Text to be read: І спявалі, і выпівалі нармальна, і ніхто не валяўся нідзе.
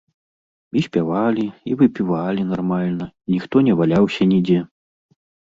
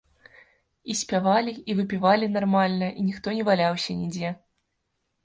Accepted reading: second